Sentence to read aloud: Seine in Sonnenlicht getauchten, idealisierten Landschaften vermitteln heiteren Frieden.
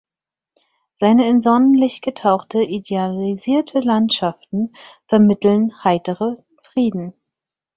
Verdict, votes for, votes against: rejected, 0, 4